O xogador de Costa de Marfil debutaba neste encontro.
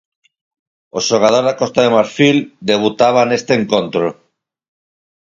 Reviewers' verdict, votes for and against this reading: accepted, 4, 0